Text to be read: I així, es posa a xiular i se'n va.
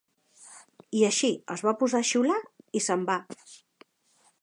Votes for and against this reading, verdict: 2, 4, rejected